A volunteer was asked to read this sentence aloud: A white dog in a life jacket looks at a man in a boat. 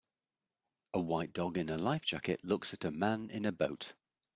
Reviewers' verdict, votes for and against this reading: accepted, 2, 0